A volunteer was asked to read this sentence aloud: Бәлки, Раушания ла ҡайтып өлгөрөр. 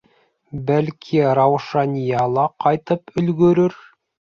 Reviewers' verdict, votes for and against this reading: accepted, 2, 0